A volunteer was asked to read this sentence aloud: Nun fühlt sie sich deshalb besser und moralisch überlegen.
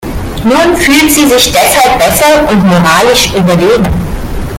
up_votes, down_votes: 1, 2